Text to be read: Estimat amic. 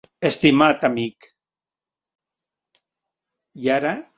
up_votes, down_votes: 0, 2